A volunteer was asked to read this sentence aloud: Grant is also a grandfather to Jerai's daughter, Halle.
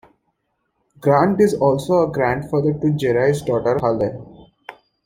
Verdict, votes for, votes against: accepted, 2, 0